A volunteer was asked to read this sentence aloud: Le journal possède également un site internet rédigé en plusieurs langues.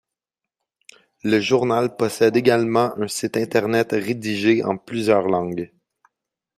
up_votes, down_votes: 2, 1